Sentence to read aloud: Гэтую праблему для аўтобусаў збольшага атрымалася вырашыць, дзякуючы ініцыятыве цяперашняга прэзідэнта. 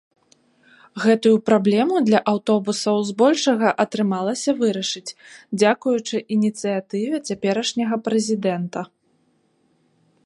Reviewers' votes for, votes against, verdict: 2, 0, accepted